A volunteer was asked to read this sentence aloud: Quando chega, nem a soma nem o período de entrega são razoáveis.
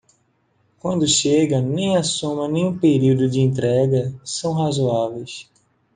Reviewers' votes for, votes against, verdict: 2, 0, accepted